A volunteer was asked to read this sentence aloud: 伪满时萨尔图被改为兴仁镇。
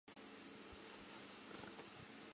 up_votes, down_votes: 0, 3